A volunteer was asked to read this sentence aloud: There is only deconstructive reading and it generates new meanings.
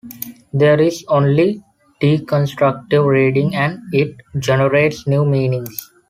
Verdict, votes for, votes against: accepted, 2, 0